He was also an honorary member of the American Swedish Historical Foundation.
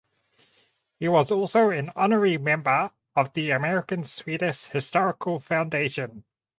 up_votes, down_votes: 2, 2